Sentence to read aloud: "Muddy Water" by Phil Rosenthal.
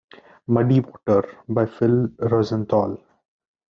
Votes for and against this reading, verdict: 1, 2, rejected